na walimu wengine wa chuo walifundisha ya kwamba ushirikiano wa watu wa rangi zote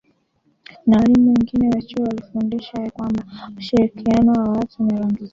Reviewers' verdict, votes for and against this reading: rejected, 0, 2